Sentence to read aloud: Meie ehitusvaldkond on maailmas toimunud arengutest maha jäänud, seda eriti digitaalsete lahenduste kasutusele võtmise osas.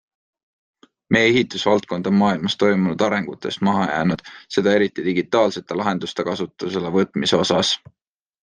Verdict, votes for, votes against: accepted, 2, 0